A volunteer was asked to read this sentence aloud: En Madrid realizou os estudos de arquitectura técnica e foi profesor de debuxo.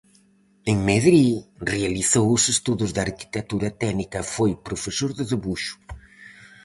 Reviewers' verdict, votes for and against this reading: rejected, 0, 4